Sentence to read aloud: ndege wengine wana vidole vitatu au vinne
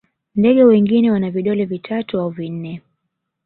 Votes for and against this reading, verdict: 1, 2, rejected